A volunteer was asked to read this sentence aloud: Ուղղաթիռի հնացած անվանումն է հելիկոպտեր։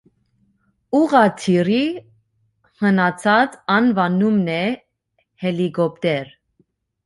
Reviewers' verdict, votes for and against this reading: accepted, 2, 0